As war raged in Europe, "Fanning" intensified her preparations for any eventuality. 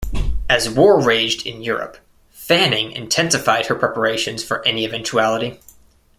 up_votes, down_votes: 2, 0